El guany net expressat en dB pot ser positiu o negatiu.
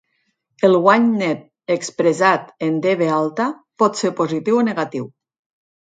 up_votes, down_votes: 2, 4